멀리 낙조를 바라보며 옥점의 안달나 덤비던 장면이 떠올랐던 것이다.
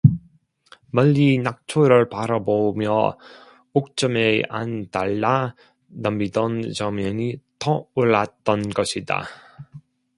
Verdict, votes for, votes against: rejected, 0, 2